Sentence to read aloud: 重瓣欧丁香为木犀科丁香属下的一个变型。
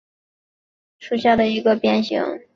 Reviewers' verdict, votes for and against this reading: rejected, 1, 4